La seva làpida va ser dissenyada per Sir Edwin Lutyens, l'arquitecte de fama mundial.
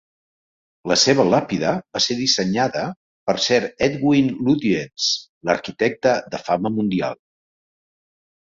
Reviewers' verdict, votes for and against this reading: accepted, 2, 0